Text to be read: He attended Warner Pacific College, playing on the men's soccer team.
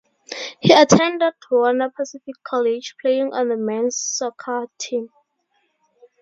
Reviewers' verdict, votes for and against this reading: rejected, 2, 2